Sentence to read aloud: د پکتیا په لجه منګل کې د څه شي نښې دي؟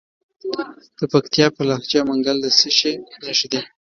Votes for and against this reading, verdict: 1, 2, rejected